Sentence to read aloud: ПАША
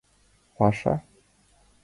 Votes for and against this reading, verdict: 2, 0, accepted